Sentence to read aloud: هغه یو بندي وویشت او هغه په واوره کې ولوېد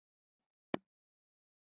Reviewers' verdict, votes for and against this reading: rejected, 0, 2